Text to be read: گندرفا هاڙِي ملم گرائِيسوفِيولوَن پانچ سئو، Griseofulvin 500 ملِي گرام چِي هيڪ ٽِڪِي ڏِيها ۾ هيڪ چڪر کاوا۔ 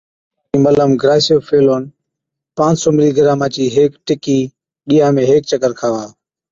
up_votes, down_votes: 0, 2